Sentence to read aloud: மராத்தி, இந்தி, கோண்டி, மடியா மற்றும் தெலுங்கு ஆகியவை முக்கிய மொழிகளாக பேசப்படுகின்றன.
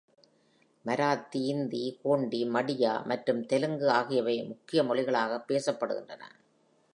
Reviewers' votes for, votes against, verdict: 2, 0, accepted